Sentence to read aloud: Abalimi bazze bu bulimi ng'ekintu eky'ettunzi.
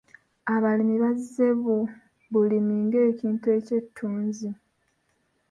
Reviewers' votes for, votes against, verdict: 0, 2, rejected